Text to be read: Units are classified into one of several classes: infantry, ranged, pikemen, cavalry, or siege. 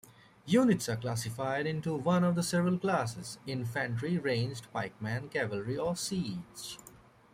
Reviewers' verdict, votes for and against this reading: accepted, 2, 0